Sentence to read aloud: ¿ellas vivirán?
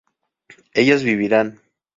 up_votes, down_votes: 2, 0